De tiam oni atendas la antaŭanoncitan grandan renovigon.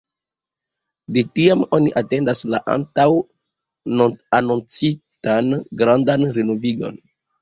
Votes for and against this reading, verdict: 2, 3, rejected